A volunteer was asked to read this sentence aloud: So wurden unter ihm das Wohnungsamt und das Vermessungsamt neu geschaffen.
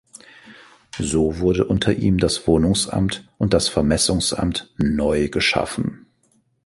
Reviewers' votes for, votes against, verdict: 2, 1, accepted